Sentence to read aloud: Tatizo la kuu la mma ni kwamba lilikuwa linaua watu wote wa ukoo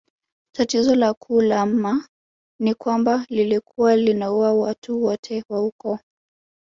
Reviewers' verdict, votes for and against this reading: accepted, 4, 0